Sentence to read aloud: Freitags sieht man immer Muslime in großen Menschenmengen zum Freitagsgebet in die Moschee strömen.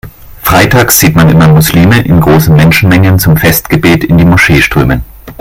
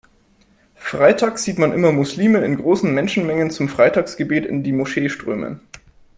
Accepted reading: second